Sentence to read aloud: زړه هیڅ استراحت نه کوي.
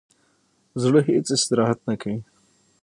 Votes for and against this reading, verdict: 3, 6, rejected